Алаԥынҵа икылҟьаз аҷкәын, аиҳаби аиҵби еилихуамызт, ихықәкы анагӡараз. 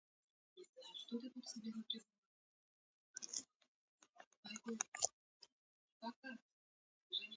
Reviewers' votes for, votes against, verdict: 0, 2, rejected